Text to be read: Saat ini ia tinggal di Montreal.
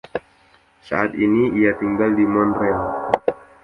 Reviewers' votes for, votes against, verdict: 2, 0, accepted